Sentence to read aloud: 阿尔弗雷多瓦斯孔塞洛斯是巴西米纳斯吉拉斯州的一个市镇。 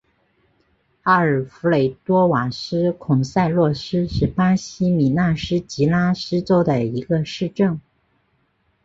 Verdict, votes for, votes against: accepted, 3, 0